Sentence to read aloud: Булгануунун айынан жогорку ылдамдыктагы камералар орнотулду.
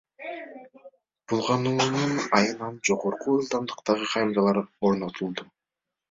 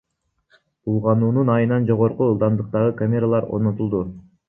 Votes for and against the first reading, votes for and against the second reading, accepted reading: 2, 1, 0, 2, first